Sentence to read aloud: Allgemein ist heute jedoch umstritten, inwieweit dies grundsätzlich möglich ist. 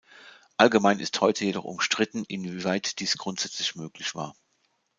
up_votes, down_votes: 0, 2